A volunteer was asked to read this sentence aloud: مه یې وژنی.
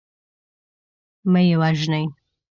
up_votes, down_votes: 2, 0